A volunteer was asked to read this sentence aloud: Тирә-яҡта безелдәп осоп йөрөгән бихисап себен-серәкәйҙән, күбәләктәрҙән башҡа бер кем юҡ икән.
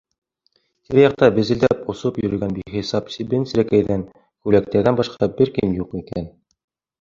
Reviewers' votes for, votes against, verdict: 2, 1, accepted